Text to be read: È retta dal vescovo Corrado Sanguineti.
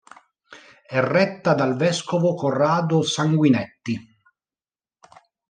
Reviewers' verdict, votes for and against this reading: rejected, 0, 2